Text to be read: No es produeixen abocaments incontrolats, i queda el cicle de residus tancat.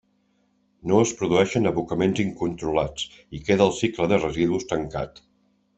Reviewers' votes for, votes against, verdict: 3, 0, accepted